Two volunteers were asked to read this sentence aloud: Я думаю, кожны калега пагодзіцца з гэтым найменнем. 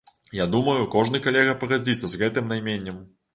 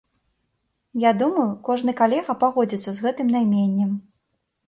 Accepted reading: second